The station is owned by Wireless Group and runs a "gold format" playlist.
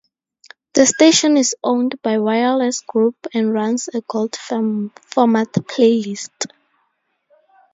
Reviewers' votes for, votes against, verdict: 2, 2, rejected